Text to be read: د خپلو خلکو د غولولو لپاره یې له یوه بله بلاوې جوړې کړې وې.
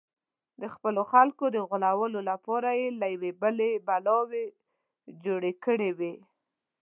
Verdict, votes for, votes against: accepted, 2, 1